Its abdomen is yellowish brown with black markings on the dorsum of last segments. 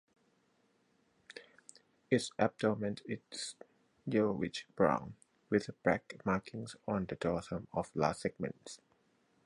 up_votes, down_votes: 2, 4